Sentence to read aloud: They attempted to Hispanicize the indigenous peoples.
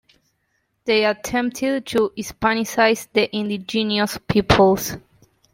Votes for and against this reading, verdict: 1, 2, rejected